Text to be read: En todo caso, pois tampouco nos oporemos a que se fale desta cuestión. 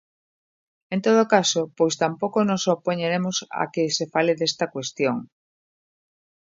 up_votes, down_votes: 0, 2